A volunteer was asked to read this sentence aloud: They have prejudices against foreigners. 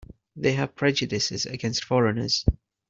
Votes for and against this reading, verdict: 2, 1, accepted